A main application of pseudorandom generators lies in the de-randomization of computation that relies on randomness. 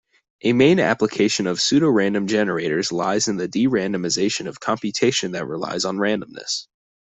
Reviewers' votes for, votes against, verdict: 2, 0, accepted